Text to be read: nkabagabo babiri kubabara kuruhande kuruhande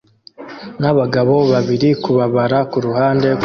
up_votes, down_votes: 1, 2